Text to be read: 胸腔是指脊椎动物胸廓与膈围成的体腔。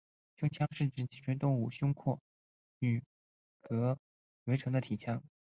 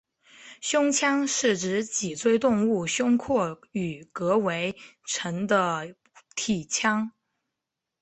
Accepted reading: second